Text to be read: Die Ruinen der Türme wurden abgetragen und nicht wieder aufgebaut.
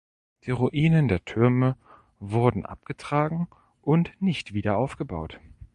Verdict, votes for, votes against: accepted, 2, 0